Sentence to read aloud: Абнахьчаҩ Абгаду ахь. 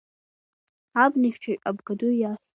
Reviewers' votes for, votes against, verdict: 2, 0, accepted